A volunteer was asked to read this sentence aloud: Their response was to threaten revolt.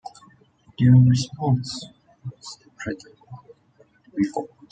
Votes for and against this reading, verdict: 2, 0, accepted